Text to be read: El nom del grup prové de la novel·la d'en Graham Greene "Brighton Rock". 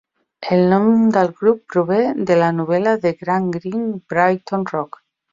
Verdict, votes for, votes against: accepted, 2, 0